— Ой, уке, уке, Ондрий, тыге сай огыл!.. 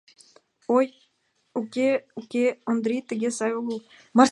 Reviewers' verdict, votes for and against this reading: rejected, 0, 2